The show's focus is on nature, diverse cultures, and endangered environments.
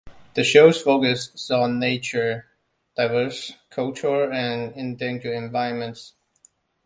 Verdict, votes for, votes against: accepted, 2, 1